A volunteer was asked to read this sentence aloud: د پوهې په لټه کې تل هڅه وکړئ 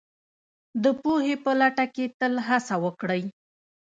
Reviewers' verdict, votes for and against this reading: accepted, 2, 1